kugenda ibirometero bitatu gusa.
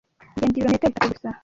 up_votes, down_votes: 2, 0